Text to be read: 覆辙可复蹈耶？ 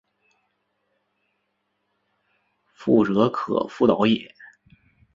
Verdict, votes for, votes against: accepted, 3, 1